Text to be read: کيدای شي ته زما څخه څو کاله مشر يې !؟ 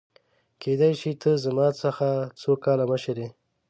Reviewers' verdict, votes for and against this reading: accepted, 2, 0